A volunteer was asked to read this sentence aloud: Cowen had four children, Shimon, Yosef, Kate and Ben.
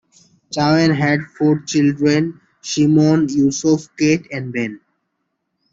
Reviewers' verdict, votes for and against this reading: rejected, 1, 2